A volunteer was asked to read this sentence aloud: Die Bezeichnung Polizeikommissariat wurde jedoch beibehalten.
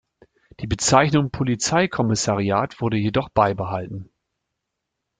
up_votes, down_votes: 2, 0